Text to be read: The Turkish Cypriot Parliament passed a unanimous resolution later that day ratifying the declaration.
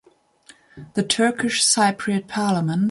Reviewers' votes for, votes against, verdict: 1, 2, rejected